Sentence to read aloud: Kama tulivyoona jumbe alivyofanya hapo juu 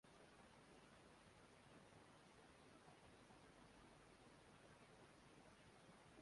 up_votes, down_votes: 1, 2